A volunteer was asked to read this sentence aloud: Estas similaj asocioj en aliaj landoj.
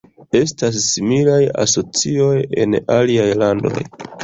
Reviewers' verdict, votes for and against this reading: rejected, 1, 2